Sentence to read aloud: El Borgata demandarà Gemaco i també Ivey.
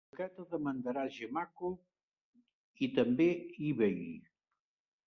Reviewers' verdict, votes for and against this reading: rejected, 0, 2